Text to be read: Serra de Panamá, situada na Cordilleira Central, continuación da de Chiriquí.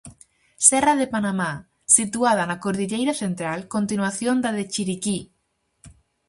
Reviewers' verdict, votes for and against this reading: accepted, 4, 0